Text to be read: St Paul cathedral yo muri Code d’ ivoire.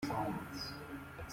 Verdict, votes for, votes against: rejected, 0, 2